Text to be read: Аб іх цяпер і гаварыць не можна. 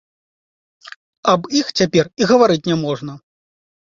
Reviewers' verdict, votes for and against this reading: accepted, 2, 0